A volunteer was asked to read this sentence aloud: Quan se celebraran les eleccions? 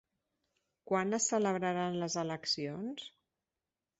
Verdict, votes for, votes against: rejected, 1, 2